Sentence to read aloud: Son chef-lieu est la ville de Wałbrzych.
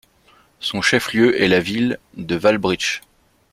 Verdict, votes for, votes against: accepted, 2, 0